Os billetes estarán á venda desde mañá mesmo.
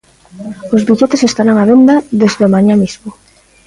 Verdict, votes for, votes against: rejected, 1, 2